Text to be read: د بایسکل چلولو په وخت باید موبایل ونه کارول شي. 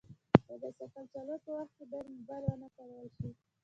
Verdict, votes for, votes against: accepted, 2, 1